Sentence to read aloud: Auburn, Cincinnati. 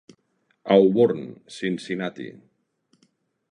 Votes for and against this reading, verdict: 2, 0, accepted